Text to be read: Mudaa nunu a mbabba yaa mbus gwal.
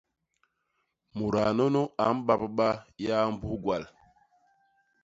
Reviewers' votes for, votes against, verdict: 2, 0, accepted